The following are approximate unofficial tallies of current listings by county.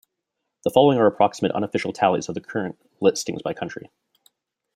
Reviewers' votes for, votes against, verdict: 2, 1, accepted